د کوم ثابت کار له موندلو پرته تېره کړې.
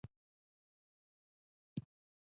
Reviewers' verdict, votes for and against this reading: rejected, 0, 2